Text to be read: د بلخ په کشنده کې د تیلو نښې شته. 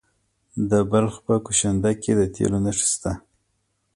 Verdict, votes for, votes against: accepted, 2, 0